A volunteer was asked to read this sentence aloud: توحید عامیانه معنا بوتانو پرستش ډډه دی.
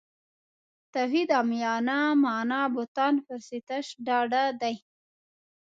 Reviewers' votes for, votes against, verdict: 2, 0, accepted